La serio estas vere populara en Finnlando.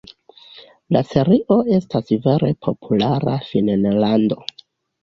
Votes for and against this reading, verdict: 1, 2, rejected